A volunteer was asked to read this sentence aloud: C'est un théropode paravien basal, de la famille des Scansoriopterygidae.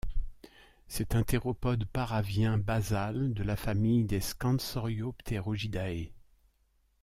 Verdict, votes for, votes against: rejected, 1, 2